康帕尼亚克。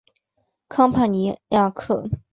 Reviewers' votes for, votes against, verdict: 1, 2, rejected